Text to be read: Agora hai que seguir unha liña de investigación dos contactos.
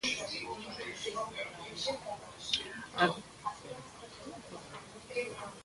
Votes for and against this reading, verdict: 0, 2, rejected